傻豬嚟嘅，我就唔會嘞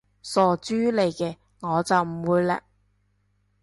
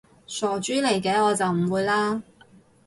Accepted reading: first